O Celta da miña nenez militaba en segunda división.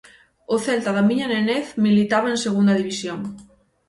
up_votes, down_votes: 6, 0